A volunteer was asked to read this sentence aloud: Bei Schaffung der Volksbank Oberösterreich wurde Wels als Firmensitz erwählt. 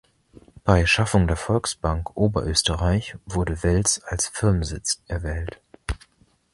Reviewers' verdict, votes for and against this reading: accepted, 2, 0